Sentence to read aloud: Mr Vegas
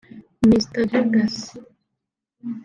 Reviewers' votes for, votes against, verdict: 0, 2, rejected